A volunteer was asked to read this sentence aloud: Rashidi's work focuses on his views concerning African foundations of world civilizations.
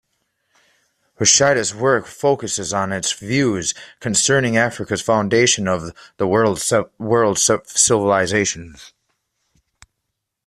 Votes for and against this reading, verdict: 0, 2, rejected